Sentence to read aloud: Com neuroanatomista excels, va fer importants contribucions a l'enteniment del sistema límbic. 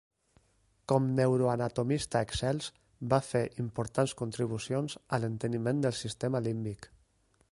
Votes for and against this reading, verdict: 2, 0, accepted